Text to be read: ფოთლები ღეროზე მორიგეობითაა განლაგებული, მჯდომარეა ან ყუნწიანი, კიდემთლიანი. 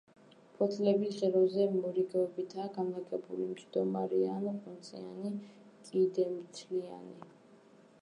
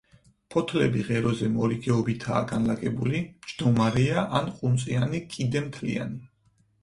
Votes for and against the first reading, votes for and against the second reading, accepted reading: 1, 2, 4, 0, second